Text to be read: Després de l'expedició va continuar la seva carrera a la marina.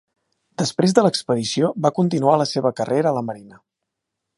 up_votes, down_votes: 3, 0